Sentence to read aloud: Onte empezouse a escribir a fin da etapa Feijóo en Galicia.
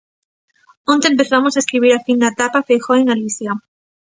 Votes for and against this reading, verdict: 0, 2, rejected